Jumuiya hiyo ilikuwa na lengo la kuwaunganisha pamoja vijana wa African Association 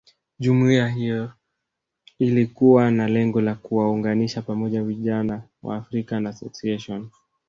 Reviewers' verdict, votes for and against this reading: accepted, 2, 0